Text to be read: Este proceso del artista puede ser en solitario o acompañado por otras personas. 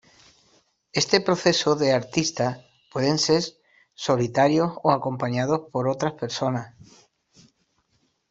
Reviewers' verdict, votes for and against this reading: rejected, 1, 2